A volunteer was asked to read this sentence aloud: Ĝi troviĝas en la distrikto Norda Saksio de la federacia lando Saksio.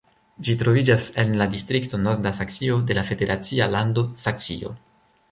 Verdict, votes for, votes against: accepted, 2, 0